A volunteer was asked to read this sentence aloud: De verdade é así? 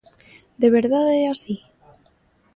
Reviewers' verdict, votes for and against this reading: accepted, 2, 0